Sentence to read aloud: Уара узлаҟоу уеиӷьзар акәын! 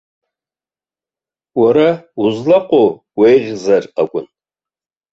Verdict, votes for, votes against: accepted, 2, 0